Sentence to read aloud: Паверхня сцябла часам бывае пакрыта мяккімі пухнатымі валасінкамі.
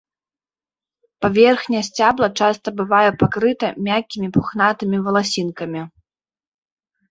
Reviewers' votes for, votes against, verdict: 0, 2, rejected